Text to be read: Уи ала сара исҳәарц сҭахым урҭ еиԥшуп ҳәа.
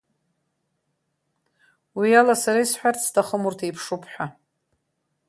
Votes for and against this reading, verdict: 3, 0, accepted